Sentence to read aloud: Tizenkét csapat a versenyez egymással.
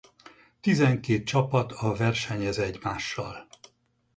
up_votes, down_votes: 2, 2